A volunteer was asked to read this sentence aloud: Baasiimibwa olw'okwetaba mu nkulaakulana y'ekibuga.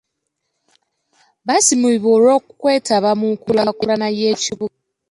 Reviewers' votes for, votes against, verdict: 0, 2, rejected